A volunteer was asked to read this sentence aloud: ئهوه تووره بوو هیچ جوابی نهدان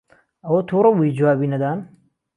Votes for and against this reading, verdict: 1, 2, rejected